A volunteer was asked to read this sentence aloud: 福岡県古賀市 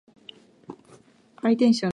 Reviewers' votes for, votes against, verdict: 1, 2, rejected